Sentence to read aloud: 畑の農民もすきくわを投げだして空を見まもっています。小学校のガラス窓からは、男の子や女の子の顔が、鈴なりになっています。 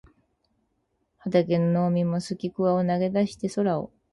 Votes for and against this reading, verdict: 0, 4, rejected